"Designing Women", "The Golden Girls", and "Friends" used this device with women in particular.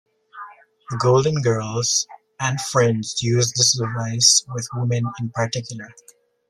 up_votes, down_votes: 0, 2